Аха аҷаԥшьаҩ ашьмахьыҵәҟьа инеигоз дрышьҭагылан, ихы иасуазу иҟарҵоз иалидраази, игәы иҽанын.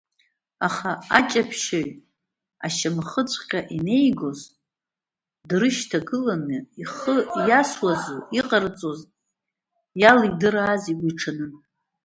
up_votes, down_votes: 1, 2